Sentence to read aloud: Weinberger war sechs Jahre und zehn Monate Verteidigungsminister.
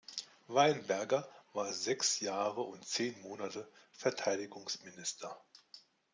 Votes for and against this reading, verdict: 2, 0, accepted